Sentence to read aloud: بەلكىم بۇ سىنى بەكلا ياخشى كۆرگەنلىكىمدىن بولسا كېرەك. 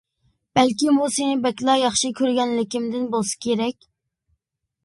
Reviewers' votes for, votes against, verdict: 2, 1, accepted